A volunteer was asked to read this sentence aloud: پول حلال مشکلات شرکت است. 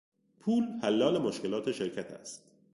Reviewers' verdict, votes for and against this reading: accepted, 2, 0